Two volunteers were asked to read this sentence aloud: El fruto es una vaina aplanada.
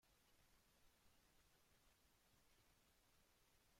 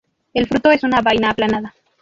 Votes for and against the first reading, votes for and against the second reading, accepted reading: 0, 2, 2, 0, second